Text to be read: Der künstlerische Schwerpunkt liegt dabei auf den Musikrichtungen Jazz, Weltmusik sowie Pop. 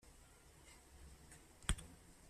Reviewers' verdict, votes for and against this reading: rejected, 0, 2